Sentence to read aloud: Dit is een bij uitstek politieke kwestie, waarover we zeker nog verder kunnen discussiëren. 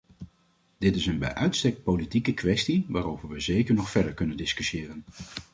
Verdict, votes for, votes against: accepted, 2, 0